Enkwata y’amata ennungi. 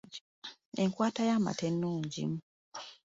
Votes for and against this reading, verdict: 2, 0, accepted